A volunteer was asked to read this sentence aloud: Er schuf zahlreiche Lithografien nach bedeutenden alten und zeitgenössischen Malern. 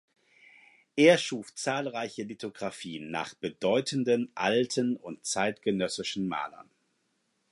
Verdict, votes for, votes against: accepted, 4, 0